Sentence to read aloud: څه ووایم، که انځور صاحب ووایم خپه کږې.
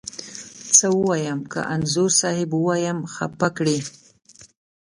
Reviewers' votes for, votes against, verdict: 2, 0, accepted